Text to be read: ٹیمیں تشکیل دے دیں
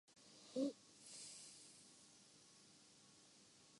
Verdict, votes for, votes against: rejected, 0, 6